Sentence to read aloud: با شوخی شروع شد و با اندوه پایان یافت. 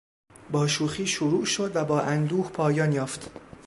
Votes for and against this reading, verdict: 2, 0, accepted